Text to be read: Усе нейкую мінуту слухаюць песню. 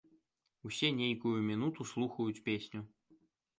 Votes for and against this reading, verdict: 2, 0, accepted